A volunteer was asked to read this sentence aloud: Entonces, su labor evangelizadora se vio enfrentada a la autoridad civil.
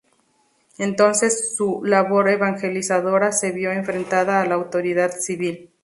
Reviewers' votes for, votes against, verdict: 2, 0, accepted